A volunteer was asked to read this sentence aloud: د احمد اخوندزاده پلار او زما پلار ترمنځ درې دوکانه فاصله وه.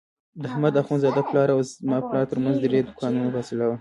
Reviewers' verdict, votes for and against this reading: rejected, 0, 2